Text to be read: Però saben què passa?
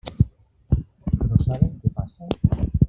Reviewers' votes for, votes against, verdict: 0, 2, rejected